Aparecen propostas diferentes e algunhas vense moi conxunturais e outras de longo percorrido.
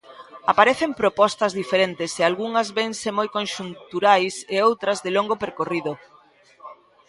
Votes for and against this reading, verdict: 2, 0, accepted